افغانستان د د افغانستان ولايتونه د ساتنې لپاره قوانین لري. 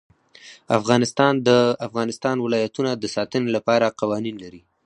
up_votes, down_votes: 2, 4